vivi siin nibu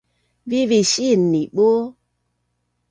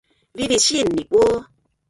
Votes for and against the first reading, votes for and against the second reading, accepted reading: 2, 0, 1, 2, first